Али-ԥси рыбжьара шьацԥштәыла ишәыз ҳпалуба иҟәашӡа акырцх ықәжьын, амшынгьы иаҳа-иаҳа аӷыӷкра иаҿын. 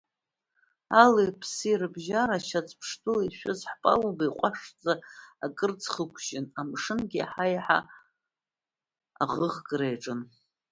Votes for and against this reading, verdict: 1, 2, rejected